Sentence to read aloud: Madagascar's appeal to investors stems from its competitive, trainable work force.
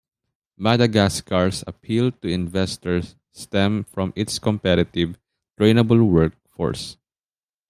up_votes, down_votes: 0, 2